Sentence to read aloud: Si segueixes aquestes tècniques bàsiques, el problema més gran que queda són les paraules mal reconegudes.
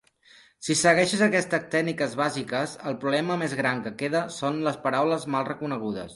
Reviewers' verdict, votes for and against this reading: accepted, 2, 1